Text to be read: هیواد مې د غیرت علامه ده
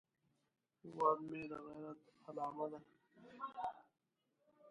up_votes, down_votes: 0, 2